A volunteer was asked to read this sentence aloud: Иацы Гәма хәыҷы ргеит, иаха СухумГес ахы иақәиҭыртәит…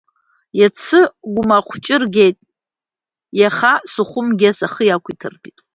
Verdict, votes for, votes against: accepted, 2, 0